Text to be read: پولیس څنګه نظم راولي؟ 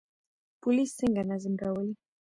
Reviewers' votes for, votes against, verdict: 0, 3, rejected